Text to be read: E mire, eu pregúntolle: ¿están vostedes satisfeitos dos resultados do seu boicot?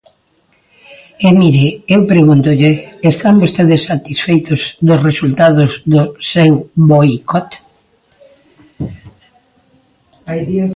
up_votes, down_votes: 0, 2